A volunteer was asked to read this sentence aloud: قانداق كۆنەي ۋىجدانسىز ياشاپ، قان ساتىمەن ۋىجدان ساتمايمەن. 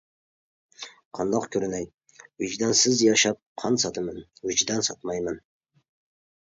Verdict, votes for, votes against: rejected, 0, 2